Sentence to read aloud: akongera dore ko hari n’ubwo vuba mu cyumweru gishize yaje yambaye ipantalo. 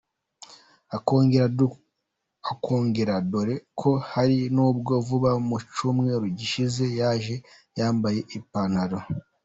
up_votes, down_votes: 1, 2